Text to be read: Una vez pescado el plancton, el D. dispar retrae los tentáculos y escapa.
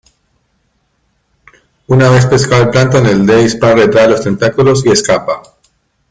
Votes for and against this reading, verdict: 1, 2, rejected